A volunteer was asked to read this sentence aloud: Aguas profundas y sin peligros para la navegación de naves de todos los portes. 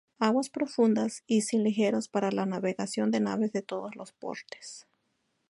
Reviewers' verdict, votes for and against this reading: rejected, 2, 2